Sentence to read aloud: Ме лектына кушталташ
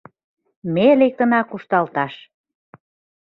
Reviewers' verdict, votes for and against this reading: accepted, 2, 0